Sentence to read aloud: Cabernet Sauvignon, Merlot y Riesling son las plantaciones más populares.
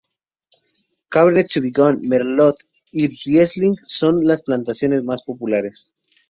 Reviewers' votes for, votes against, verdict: 0, 2, rejected